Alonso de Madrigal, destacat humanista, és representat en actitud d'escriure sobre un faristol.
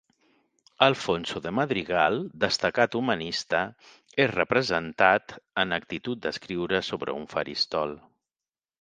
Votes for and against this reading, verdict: 1, 2, rejected